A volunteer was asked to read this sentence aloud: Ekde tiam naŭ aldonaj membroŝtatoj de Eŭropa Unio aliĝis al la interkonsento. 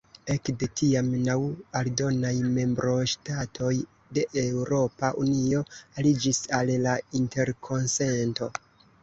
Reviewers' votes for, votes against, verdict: 2, 1, accepted